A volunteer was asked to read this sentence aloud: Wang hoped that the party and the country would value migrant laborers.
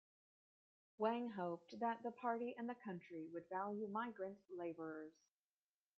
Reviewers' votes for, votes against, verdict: 2, 1, accepted